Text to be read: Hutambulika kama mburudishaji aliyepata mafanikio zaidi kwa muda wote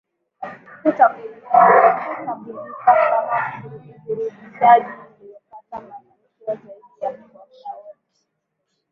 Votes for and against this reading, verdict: 0, 2, rejected